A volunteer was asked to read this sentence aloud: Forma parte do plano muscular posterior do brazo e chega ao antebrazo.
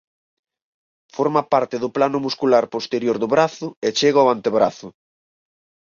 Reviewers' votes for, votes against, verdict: 4, 0, accepted